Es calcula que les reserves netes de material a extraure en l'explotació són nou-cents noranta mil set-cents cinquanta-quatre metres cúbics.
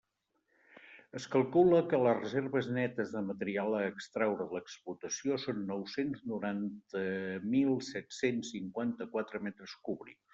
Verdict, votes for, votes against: accepted, 2, 0